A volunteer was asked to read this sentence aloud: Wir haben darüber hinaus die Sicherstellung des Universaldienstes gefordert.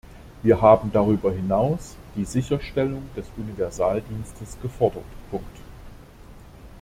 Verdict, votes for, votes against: rejected, 0, 2